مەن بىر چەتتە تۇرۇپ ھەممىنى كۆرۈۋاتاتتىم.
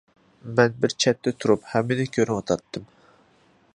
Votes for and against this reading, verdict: 2, 0, accepted